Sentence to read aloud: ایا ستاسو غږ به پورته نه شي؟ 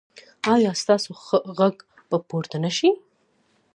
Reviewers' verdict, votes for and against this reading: accepted, 2, 0